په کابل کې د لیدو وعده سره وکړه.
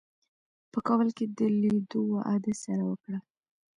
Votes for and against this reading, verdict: 1, 2, rejected